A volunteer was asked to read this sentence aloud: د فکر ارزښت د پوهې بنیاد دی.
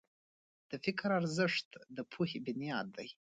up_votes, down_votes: 2, 0